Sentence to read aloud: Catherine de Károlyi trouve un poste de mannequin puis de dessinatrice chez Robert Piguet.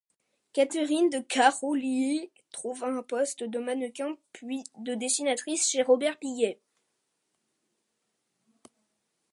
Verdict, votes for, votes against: accepted, 2, 0